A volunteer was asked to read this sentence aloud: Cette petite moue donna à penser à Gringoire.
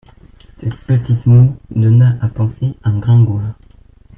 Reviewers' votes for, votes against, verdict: 2, 3, rejected